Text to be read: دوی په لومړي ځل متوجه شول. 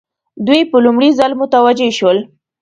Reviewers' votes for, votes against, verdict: 2, 0, accepted